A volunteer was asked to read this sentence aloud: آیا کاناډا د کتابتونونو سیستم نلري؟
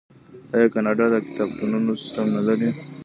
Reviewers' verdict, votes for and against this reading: rejected, 0, 2